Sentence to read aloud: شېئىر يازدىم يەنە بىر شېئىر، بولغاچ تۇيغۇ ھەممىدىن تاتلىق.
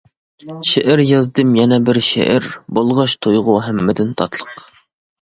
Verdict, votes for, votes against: accepted, 2, 0